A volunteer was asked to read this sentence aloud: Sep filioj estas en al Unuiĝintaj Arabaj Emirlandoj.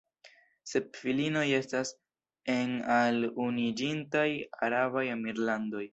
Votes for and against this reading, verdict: 2, 0, accepted